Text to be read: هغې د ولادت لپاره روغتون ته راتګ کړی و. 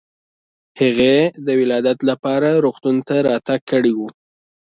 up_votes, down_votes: 2, 0